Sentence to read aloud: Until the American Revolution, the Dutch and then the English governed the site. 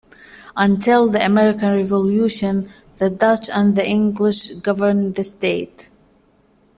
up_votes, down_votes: 0, 2